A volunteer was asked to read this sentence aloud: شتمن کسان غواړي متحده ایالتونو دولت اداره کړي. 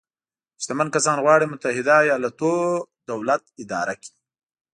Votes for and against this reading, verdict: 2, 1, accepted